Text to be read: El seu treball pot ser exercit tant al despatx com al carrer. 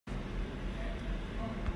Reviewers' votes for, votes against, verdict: 0, 2, rejected